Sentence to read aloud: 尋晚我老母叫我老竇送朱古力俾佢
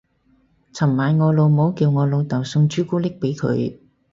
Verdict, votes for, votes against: accepted, 2, 0